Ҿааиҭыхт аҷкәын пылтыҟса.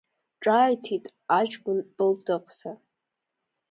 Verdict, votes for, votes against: rejected, 0, 2